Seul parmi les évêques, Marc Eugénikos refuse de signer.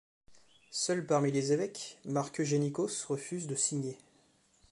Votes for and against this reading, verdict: 2, 0, accepted